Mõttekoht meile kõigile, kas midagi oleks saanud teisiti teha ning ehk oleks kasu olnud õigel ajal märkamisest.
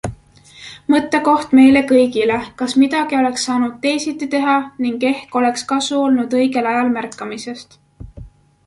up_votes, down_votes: 2, 0